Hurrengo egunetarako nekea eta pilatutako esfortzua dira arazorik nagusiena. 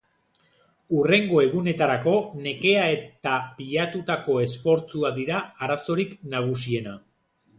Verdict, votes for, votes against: rejected, 0, 2